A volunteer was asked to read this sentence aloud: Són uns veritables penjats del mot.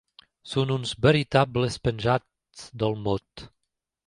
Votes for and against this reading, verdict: 2, 0, accepted